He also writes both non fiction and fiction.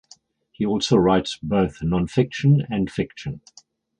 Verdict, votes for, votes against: accepted, 4, 0